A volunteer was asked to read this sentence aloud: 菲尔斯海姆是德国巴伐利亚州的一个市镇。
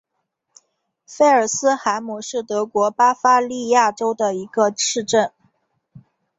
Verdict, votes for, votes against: accepted, 2, 0